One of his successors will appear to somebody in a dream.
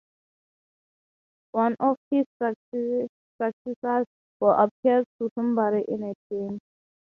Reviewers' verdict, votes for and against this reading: rejected, 3, 6